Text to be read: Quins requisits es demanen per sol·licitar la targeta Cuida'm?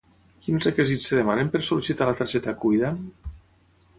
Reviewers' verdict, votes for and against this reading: rejected, 3, 6